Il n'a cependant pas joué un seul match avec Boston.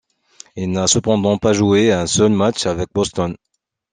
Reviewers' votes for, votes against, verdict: 2, 0, accepted